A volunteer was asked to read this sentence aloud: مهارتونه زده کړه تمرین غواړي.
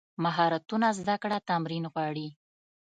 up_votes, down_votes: 1, 2